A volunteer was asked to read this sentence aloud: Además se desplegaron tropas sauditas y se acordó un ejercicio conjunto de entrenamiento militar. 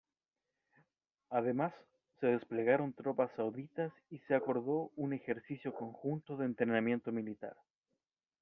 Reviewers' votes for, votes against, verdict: 2, 1, accepted